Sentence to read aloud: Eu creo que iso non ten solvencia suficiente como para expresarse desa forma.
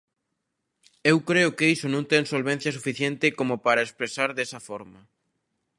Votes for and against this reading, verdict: 0, 2, rejected